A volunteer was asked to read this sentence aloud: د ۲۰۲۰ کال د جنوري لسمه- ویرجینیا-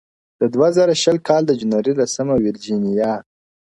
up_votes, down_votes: 0, 2